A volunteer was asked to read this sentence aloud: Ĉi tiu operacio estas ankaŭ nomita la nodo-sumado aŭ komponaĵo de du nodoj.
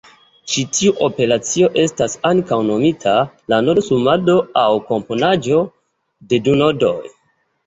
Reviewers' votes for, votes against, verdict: 2, 0, accepted